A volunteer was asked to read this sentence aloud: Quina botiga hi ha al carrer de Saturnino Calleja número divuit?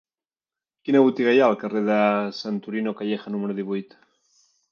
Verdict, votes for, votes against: rejected, 1, 3